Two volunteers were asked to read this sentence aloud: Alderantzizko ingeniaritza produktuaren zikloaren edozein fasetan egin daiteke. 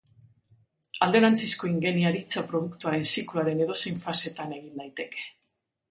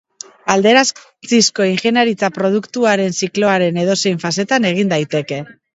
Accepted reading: first